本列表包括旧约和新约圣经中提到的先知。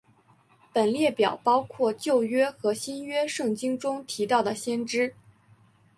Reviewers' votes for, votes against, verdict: 5, 0, accepted